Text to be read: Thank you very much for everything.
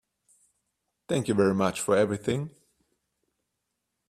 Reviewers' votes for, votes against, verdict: 3, 0, accepted